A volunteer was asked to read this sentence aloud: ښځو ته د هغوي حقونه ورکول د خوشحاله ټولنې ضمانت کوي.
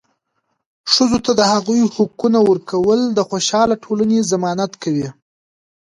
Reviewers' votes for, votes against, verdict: 1, 2, rejected